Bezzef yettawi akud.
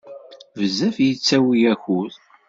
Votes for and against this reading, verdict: 2, 0, accepted